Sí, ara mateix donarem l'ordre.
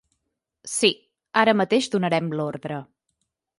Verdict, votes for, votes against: accepted, 3, 0